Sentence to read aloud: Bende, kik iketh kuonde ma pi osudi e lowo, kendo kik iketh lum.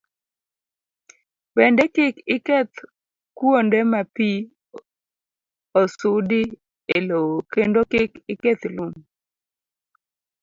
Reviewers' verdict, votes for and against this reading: accepted, 2, 0